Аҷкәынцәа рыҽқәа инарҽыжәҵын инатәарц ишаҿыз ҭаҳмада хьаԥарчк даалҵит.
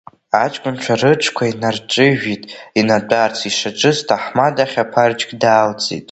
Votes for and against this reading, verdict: 0, 2, rejected